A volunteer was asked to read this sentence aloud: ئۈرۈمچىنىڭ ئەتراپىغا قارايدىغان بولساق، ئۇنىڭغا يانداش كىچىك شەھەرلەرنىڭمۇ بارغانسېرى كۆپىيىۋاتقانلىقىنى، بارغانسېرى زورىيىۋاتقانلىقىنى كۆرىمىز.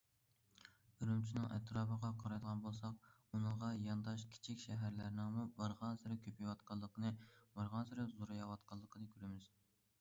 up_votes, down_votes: 2, 0